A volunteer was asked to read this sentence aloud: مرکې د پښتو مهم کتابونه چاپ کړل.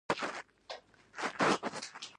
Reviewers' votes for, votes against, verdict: 1, 2, rejected